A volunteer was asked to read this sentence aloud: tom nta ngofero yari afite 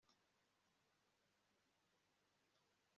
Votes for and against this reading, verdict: 0, 2, rejected